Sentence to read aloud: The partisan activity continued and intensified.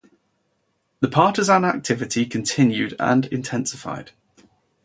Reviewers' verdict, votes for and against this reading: accepted, 4, 0